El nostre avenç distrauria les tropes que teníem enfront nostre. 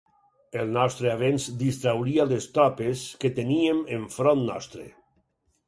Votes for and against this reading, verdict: 4, 0, accepted